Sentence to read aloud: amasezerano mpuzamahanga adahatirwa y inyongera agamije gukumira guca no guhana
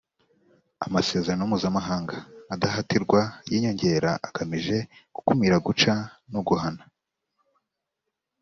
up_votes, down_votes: 2, 0